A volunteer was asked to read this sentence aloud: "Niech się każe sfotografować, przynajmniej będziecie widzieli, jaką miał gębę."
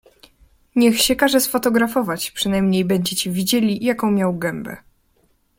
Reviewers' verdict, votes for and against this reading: accepted, 2, 0